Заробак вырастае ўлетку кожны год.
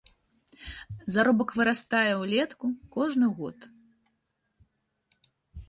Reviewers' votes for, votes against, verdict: 2, 0, accepted